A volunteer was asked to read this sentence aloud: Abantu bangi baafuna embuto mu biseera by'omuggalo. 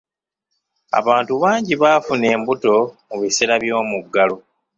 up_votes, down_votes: 1, 2